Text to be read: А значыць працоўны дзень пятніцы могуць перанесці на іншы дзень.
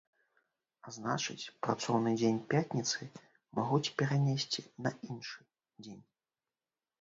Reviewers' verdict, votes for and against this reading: rejected, 0, 2